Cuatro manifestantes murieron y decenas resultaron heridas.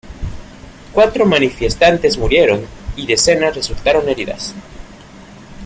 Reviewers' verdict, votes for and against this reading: rejected, 0, 2